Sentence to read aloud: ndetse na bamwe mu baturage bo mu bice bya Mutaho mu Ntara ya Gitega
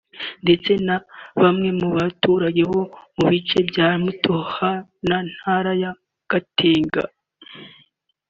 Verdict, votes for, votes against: rejected, 1, 3